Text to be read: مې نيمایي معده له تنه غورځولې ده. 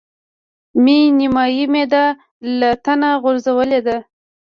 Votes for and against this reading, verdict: 1, 2, rejected